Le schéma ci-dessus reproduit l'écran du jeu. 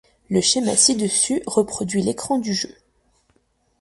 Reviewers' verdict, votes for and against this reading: accepted, 2, 0